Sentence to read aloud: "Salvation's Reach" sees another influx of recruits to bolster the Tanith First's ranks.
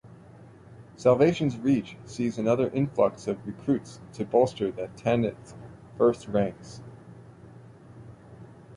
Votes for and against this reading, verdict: 2, 0, accepted